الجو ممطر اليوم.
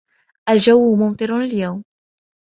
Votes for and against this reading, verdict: 2, 0, accepted